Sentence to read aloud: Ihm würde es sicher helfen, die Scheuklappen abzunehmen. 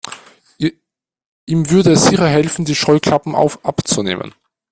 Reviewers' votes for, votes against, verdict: 1, 2, rejected